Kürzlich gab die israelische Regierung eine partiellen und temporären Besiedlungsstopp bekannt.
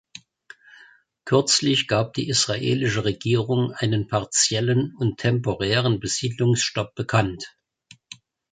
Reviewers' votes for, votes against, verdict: 2, 0, accepted